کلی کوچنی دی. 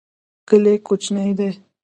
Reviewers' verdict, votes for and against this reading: accepted, 2, 0